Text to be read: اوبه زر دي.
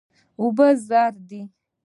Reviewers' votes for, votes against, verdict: 2, 1, accepted